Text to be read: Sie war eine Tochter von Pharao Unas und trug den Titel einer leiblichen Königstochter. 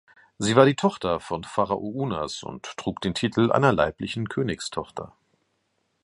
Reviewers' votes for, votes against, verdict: 1, 2, rejected